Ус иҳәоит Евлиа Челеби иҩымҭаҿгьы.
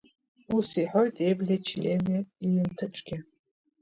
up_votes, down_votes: 0, 2